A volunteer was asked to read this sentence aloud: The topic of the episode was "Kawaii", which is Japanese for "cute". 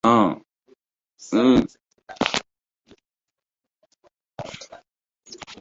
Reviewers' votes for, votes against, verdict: 0, 2, rejected